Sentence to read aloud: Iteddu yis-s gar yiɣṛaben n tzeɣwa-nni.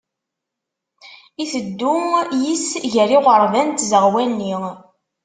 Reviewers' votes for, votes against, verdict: 0, 2, rejected